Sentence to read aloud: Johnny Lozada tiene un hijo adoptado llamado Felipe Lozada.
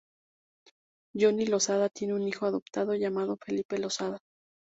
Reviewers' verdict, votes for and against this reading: rejected, 0, 2